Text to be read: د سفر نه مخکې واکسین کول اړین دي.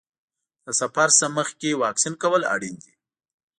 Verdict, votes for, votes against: rejected, 0, 2